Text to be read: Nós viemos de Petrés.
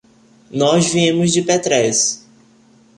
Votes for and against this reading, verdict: 2, 0, accepted